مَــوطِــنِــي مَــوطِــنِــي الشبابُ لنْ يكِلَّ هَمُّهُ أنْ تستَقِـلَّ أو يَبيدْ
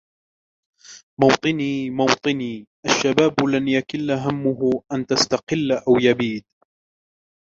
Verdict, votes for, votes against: rejected, 1, 2